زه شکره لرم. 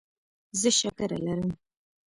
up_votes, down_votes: 3, 0